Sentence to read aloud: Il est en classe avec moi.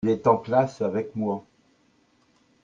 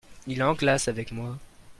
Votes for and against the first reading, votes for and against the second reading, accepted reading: 1, 2, 2, 1, second